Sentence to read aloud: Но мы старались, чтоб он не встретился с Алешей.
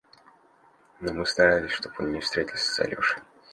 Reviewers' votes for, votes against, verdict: 2, 0, accepted